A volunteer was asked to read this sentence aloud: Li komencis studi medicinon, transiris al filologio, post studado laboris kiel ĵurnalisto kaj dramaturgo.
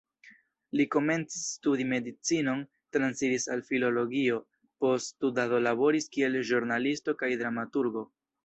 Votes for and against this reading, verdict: 2, 0, accepted